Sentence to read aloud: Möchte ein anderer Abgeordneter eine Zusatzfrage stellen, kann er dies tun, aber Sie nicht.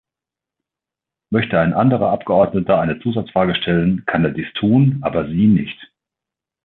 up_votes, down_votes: 2, 0